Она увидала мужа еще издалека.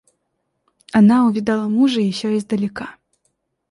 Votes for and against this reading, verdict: 2, 0, accepted